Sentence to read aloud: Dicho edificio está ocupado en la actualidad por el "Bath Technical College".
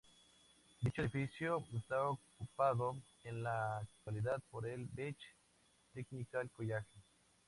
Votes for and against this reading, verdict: 0, 2, rejected